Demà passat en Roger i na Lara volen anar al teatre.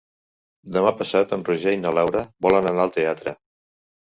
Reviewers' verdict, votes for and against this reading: rejected, 0, 2